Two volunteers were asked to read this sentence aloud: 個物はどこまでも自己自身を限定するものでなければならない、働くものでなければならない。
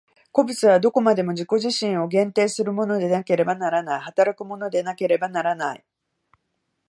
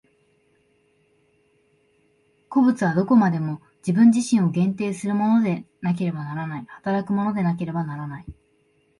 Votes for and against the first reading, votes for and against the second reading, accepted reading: 2, 0, 0, 2, first